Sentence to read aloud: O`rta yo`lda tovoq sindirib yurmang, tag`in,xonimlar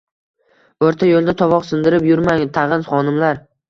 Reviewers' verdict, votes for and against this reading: accepted, 2, 0